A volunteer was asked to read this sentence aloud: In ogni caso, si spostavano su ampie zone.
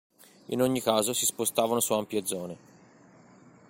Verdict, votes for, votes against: accepted, 2, 0